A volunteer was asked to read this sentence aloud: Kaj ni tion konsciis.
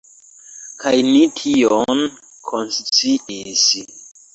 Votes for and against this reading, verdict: 0, 2, rejected